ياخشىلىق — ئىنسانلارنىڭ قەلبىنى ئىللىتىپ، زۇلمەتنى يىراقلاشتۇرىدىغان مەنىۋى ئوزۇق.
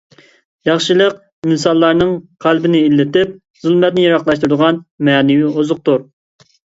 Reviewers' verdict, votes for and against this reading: rejected, 1, 2